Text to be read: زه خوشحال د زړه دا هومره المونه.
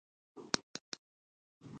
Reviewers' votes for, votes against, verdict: 0, 2, rejected